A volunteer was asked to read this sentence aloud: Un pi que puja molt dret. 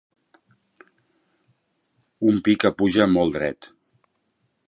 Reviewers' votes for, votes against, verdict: 2, 0, accepted